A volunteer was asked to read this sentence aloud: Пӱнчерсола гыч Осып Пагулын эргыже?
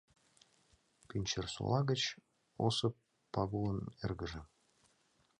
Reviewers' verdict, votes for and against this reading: rejected, 1, 2